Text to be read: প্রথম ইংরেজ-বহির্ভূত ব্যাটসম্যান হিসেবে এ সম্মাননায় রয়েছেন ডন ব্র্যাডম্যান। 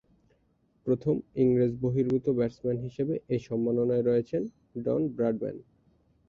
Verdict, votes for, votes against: rejected, 2, 2